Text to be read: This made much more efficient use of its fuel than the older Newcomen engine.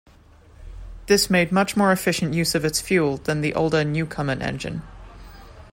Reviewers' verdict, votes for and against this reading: accepted, 2, 0